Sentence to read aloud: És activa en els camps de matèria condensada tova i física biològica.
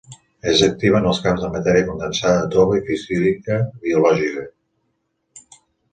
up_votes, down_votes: 1, 2